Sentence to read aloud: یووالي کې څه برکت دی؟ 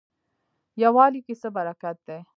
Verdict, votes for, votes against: rejected, 0, 2